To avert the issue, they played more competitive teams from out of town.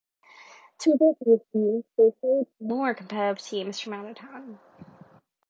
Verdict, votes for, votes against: accepted, 2, 0